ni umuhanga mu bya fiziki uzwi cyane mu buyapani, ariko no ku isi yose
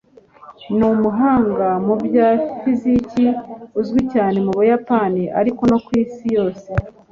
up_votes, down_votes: 2, 0